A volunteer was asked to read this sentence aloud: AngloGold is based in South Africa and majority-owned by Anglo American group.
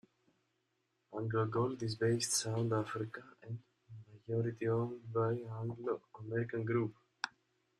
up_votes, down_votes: 0, 2